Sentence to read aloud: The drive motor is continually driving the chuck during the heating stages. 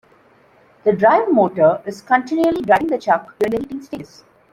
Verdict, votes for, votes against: rejected, 0, 2